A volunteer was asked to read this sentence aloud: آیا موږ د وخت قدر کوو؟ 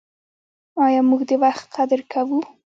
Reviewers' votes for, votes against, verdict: 2, 0, accepted